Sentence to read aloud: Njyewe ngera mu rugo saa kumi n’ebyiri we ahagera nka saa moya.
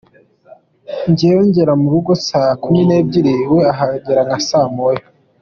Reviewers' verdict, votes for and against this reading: accepted, 2, 1